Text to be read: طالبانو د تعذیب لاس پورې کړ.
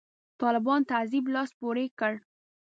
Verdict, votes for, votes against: rejected, 1, 2